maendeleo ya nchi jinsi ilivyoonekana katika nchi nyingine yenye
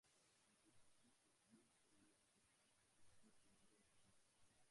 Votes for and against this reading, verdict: 1, 2, rejected